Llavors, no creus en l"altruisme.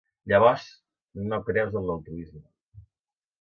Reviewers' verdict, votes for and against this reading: accepted, 2, 0